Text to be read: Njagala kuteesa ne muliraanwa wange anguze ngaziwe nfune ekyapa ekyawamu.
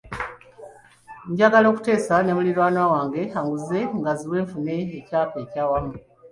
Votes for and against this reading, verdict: 2, 1, accepted